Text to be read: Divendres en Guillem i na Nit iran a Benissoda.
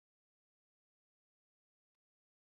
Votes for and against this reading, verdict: 0, 2, rejected